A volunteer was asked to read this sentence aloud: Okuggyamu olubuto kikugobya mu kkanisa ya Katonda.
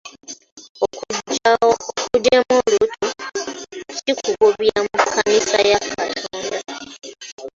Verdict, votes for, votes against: accepted, 2, 0